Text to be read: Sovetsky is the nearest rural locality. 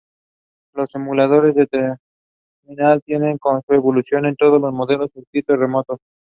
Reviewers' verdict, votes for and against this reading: rejected, 0, 2